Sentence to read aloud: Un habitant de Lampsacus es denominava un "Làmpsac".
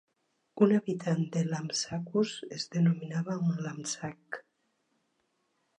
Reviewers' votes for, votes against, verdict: 2, 3, rejected